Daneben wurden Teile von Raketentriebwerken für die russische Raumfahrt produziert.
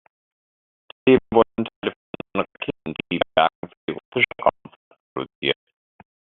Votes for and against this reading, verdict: 0, 2, rejected